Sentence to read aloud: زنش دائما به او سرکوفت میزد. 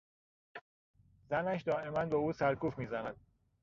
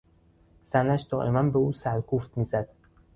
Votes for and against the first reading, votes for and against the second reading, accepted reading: 1, 2, 2, 0, second